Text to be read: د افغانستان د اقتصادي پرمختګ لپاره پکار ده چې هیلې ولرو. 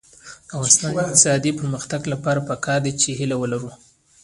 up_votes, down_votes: 2, 1